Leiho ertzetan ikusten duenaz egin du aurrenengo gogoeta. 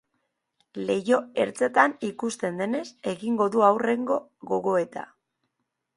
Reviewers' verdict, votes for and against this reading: accepted, 2, 1